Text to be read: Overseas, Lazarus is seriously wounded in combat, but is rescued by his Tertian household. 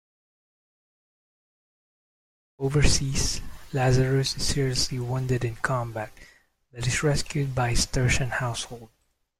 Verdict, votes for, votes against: rejected, 0, 2